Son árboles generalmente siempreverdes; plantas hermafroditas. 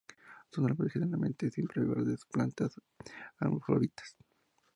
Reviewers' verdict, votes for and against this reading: rejected, 0, 2